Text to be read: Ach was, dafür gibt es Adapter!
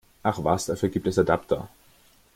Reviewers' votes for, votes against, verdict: 2, 0, accepted